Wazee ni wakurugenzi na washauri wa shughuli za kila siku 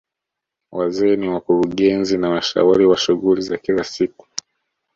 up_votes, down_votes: 2, 0